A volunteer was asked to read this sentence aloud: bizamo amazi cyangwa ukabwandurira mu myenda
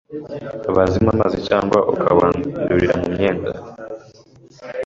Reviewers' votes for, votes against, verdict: 2, 0, accepted